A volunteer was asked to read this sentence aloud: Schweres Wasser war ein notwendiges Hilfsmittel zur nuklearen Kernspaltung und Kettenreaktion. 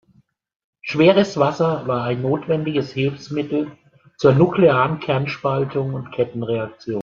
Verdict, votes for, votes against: rejected, 1, 2